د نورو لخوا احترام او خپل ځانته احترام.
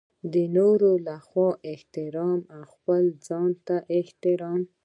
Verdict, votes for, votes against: accepted, 2, 0